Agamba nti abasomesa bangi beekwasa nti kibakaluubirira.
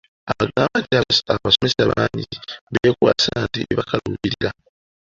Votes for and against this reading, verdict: 0, 2, rejected